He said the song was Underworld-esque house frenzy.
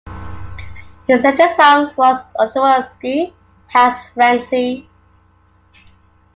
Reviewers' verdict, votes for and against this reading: rejected, 1, 2